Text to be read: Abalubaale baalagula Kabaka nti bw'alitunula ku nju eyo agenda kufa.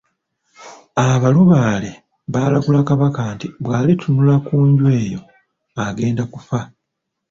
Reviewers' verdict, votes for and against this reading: rejected, 1, 2